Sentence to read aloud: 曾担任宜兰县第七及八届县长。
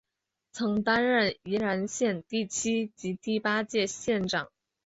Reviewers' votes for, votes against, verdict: 3, 0, accepted